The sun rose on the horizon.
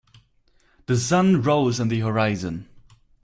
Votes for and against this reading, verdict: 4, 0, accepted